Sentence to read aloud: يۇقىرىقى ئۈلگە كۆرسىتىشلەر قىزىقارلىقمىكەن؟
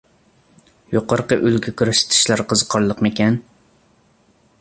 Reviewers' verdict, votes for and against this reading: accepted, 3, 0